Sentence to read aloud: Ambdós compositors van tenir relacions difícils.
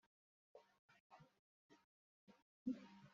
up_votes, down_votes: 0, 2